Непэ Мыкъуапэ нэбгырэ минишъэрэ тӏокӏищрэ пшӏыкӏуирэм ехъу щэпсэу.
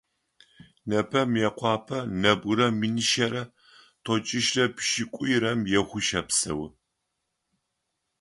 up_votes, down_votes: 3, 0